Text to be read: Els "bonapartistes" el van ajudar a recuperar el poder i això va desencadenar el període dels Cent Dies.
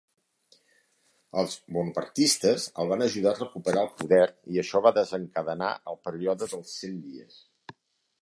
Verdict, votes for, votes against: rejected, 0, 3